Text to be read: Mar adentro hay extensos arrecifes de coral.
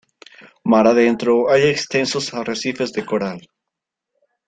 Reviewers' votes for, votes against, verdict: 2, 0, accepted